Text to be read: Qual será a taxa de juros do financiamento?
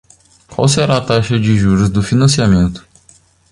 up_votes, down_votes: 2, 0